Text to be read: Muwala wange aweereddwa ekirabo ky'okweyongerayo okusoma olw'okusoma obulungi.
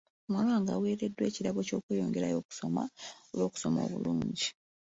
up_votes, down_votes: 2, 0